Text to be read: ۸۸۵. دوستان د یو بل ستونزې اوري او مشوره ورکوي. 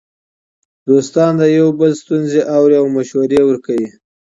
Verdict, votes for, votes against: rejected, 0, 2